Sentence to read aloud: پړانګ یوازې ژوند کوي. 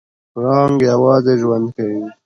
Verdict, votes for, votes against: accepted, 2, 0